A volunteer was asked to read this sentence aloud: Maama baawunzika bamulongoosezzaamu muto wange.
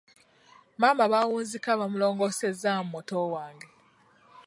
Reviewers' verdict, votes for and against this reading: accepted, 2, 0